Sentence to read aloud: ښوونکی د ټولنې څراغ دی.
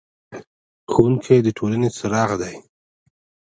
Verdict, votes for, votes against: rejected, 1, 2